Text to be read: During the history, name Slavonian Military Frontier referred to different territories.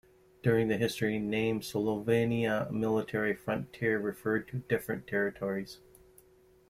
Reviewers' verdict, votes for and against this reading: rejected, 1, 2